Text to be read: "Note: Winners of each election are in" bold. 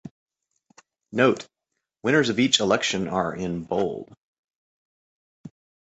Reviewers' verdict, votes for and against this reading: accepted, 2, 0